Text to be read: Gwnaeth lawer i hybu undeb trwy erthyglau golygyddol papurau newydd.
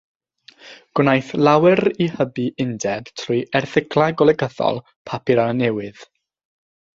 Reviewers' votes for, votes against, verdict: 0, 3, rejected